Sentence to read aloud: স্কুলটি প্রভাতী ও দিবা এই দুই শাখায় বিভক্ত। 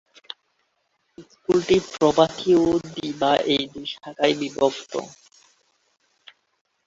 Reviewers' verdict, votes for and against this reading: rejected, 1, 2